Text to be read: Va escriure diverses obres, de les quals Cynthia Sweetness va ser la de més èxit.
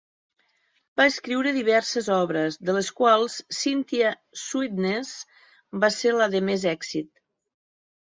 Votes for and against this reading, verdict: 5, 0, accepted